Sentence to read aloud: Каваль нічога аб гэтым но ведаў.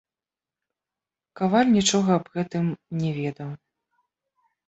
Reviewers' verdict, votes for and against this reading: accepted, 2, 1